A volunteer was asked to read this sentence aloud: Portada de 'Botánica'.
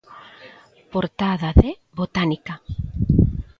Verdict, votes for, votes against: accepted, 2, 0